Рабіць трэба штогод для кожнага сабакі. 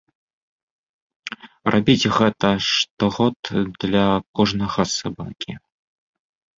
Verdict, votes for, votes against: rejected, 0, 2